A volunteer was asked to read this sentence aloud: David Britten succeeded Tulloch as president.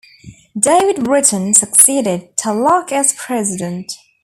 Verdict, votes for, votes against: accepted, 2, 0